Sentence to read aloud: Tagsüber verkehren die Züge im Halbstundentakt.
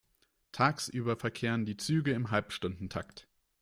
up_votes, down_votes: 2, 1